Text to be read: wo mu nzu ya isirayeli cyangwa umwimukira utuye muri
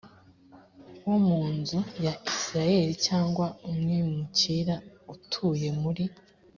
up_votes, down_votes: 3, 0